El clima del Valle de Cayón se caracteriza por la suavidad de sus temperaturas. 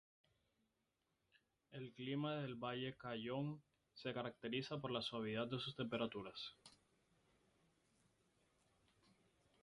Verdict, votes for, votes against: rejected, 0, 2